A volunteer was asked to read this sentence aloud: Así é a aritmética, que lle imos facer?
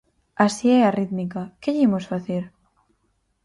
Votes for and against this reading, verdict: 0, 4, rejected